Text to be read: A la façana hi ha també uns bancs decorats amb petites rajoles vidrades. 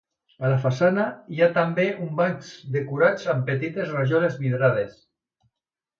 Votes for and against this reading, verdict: 2, 0, accepted